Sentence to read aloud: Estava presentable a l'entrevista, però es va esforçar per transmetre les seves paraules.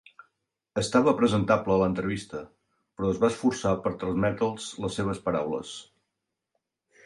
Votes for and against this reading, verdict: 0, 2, rejected